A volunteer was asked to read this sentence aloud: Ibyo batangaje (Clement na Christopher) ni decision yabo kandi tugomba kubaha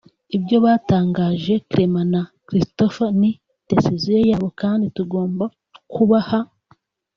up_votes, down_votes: 0, 3